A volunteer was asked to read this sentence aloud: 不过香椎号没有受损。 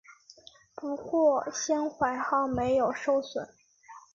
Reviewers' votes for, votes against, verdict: 1, 3, rejected